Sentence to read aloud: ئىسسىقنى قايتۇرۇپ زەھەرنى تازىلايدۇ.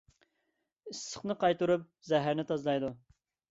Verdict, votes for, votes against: accepted, 2, 0